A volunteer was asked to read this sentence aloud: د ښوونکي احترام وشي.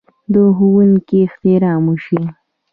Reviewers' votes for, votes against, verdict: 1, 2, rejected